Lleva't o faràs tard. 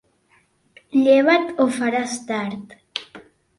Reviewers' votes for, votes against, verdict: 2, 0, accepted